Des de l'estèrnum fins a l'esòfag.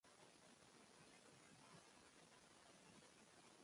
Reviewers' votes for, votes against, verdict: 0, 2, rejected